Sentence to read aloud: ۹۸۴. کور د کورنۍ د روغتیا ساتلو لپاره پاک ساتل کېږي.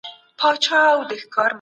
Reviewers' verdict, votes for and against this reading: rejected, 0, 2